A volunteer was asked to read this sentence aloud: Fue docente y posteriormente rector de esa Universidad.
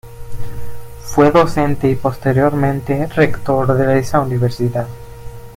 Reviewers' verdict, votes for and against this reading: accepted, 2, 0